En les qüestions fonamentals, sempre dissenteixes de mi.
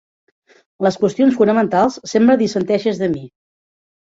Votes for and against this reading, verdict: 0, 2, rejected